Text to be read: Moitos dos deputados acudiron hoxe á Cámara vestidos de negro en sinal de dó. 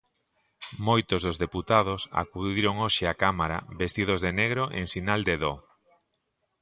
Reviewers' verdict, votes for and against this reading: accepted, 2, 0